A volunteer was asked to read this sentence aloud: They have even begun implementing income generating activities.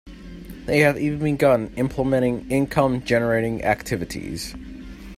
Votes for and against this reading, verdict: 2, 0, accepted